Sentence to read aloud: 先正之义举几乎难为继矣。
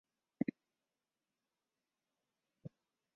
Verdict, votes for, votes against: rejected, 0, 3